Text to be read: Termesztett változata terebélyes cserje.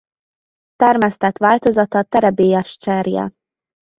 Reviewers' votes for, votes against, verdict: 2, 1, accepted